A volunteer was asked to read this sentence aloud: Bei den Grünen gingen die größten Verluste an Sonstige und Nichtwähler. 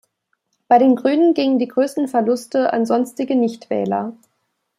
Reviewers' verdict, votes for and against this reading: rejected, 0, 2